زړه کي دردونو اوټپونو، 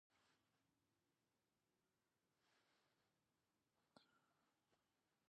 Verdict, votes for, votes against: rejected, 1, 2